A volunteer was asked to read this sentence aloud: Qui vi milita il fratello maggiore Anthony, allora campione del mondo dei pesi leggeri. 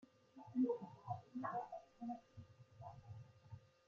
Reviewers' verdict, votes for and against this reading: rejected, 0, 2